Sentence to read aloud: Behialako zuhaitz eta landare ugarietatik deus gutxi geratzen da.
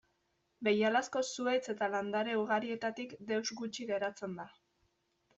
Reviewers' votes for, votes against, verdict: 2, 0, accepted